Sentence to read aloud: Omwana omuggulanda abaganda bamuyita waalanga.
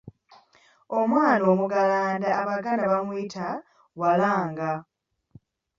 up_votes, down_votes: 2, 0